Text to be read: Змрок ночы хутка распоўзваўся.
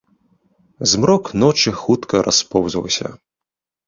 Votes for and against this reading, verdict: 2, 0, accepted